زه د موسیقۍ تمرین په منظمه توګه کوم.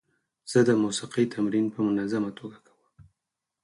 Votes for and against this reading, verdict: 8, 0, accepted